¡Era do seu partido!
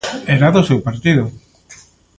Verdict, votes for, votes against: accepted, 3, 0